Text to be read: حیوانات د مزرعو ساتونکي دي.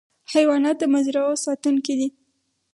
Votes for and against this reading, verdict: 4, 0, accepted